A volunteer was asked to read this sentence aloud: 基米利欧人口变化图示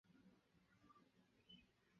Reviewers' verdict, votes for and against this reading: rejected, 0, 2